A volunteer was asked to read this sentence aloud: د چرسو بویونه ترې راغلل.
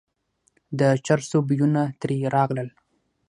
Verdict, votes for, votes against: accepted, 3, 0